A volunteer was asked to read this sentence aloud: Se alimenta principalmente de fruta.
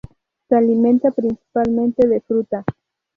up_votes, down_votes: 0, 2